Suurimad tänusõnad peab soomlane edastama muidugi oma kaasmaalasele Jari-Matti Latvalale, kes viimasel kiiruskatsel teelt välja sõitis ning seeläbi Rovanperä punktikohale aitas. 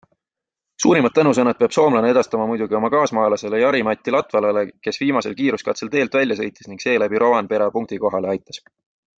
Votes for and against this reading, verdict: 2, 0, accepted